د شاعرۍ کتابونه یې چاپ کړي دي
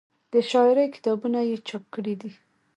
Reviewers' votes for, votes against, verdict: 0, 2, rejected